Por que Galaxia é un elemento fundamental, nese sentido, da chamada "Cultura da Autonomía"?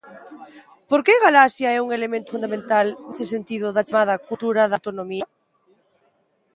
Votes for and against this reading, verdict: 1, 2, rejected